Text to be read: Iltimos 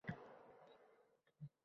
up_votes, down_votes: 0, 2